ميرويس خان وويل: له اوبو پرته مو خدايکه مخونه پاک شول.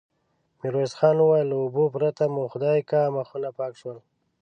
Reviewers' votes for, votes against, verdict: 2, 0, accepted